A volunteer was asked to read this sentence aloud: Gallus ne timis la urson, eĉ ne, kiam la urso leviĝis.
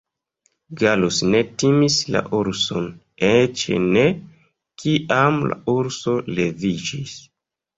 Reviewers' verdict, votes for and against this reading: rejected, 0, 2